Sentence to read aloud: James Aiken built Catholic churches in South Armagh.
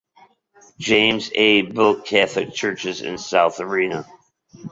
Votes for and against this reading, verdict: 0, 2, rejected